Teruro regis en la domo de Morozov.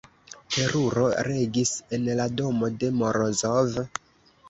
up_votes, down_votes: 1, 2